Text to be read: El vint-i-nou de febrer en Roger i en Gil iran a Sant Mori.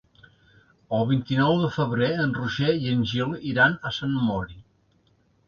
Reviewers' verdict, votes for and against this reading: accepted, 2, 0